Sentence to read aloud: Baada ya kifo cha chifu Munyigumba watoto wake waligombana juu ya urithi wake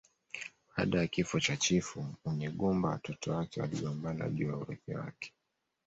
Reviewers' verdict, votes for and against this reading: accepted, 2, 0